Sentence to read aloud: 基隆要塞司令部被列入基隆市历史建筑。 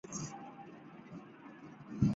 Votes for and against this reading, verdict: 0, 3, rejected